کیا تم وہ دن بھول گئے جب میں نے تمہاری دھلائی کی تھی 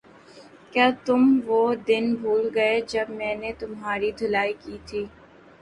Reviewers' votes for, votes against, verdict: 2, 0, accepted